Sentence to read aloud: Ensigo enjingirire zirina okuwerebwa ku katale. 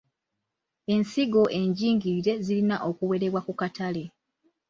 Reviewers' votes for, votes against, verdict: 1, 2, rejected